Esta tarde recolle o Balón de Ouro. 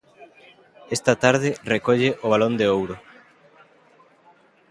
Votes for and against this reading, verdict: 2, 0, accepted